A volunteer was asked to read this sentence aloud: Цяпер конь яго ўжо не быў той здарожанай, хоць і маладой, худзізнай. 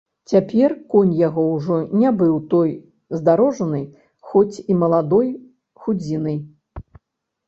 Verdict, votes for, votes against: rejected, 0, 2